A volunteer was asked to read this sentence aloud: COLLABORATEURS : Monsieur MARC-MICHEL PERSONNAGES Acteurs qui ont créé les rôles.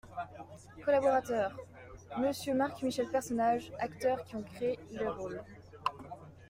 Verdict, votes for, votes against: accepted, 2, 0